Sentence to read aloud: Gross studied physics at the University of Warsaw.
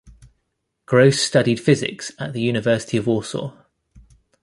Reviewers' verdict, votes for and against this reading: accepted, 2, 0